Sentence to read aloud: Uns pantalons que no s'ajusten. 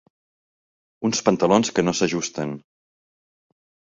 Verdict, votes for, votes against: accepted, 3, 0